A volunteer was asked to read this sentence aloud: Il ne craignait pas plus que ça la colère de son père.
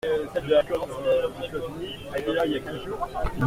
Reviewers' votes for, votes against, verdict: 0, 2, rejected